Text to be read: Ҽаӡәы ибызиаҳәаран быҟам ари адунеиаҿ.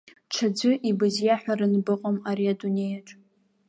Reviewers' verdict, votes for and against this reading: accepted, 2, 0